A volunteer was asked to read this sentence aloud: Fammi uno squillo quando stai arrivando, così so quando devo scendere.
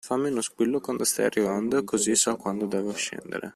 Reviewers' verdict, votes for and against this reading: accepted, 2, 0